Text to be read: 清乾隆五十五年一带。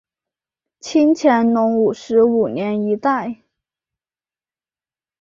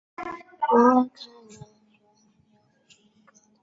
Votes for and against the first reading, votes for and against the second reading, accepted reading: 3, 1, 1, 3, first